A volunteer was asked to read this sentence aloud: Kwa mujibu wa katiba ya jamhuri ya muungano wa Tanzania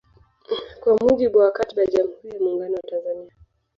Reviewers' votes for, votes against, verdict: 0, 2, rejected